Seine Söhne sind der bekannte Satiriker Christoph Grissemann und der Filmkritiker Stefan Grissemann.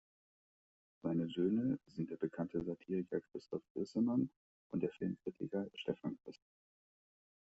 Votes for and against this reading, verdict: 0, 2, rejected